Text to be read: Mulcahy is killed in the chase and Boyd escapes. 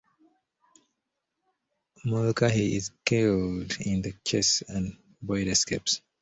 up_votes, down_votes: 2, 1